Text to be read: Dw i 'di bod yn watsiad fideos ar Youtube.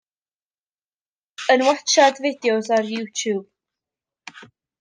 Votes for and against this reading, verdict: 0, 2, rejected